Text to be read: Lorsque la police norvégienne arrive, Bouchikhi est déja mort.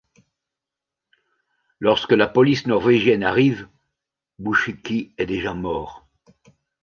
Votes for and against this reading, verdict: 2, 0, accepted